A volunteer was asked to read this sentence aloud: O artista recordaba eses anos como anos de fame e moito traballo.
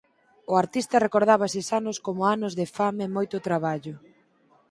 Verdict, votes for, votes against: accepted, 4, 0